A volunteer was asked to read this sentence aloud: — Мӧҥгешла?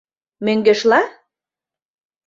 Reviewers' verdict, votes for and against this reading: accepted, 2, 0